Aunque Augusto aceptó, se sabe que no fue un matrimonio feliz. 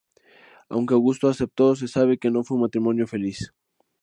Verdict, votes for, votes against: accepted, 2, 0